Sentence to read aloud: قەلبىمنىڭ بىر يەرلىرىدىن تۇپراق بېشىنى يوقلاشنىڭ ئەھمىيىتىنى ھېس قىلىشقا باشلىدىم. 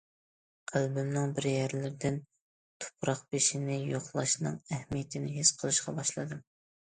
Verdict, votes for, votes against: accepted, 2, 0